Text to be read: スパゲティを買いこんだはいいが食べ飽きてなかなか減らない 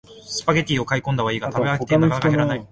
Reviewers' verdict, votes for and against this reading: rejected, 1, 2